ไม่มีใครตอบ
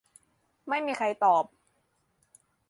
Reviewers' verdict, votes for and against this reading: accepted, 2, 0